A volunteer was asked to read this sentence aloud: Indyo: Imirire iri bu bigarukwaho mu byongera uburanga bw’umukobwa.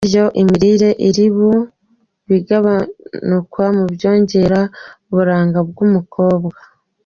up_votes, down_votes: 1, 2